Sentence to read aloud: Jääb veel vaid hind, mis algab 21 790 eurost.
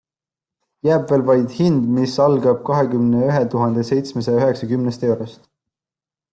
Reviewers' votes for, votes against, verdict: 0, 2, rejected